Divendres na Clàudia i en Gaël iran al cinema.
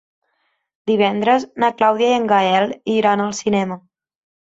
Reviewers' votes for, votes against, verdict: 3, 0, accepted